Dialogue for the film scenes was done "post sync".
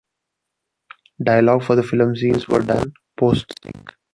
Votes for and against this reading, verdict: 1, 3, rejected